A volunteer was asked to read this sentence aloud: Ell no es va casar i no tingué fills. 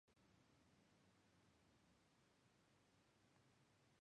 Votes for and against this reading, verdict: 0, 2, rejected